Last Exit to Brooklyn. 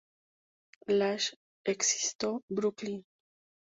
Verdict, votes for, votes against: rejected, 0, 2